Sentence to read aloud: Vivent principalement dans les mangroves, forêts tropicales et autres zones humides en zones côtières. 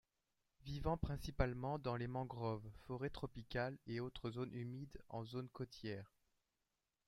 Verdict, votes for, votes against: rejected, 1, 2